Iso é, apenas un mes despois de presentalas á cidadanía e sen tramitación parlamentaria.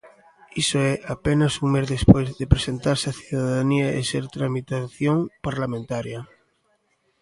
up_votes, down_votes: 0, 2